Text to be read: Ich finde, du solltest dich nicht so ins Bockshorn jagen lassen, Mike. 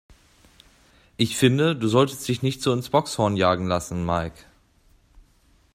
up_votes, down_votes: 2, 0